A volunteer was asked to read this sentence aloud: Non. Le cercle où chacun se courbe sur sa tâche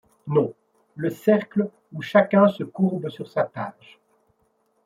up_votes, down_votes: 2, 0